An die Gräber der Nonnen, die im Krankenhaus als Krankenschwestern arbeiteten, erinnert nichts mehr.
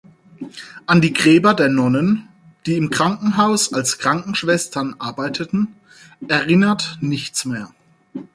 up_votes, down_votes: 4, 0